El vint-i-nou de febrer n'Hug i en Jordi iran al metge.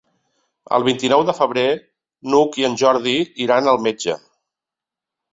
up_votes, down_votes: 2, 0